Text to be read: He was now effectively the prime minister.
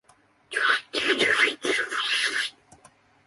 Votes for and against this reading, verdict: 0, 2, rejected